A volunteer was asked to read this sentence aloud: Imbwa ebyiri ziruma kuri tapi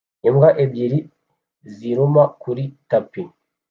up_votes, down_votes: 2, 0